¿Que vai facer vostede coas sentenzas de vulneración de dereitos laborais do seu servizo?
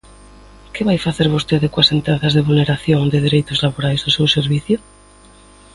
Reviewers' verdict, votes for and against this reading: accepted, 2, 1